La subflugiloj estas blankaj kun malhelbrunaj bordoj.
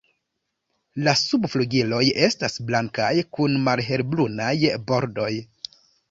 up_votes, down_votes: 2, 0